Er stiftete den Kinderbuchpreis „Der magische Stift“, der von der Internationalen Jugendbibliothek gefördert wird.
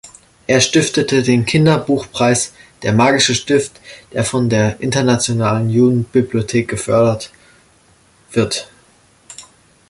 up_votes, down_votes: 2, 0